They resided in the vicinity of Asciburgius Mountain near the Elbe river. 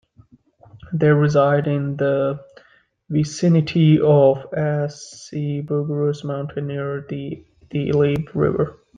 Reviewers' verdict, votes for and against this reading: rejected, 0, 2